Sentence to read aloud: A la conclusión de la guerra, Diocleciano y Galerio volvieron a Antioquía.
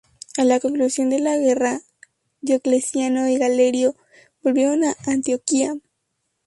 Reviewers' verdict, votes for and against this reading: accepted, 2, 0